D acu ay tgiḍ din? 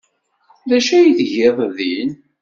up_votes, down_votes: 2, 0